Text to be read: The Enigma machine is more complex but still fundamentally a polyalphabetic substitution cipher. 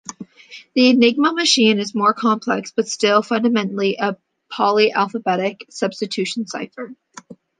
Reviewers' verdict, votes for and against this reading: accepted, 2, 0